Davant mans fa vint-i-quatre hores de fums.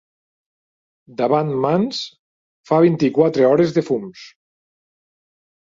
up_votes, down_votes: 4, 0